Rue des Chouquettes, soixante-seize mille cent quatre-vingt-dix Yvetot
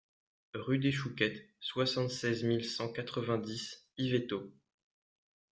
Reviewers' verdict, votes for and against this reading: accepted, 2, 1